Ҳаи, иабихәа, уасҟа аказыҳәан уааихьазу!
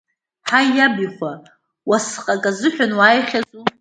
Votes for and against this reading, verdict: 0, 2, rejected